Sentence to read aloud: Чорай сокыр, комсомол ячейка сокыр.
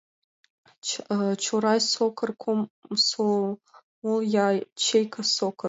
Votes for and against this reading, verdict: 1, 2, rejected